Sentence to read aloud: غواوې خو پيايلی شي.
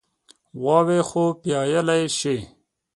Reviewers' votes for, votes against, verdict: 5, 0, accepted